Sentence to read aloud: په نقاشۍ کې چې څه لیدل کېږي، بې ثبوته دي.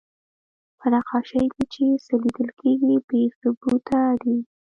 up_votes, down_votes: 3, 0